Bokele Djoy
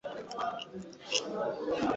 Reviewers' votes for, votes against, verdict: 1, 2, rejected